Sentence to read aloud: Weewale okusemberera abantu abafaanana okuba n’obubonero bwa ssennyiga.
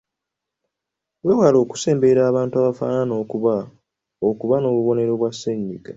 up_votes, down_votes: 1, 2